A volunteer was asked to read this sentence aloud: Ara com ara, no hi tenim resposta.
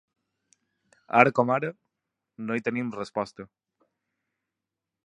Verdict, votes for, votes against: accepted, 3, 0